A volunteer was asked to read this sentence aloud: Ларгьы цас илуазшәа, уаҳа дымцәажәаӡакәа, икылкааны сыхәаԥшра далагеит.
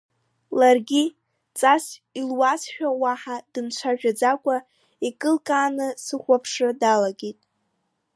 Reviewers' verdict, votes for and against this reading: rejected, 1, 2